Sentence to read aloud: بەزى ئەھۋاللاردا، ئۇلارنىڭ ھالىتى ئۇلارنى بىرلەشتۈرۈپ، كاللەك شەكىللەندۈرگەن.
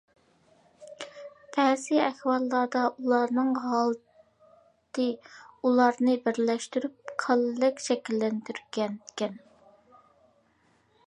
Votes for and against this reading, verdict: 0, 2, rejected